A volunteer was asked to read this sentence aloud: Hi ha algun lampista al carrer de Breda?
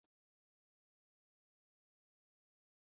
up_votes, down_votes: 0, 2